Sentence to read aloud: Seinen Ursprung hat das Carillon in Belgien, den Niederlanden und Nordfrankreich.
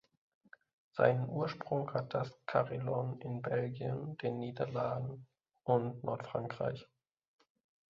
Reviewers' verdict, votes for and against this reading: rejected, 1, 2